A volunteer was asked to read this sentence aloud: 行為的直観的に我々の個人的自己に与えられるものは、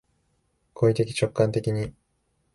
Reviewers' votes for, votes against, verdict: 0, 2, rejected